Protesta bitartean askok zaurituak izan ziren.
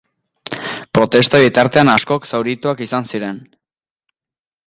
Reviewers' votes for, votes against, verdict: 2, 0, accepted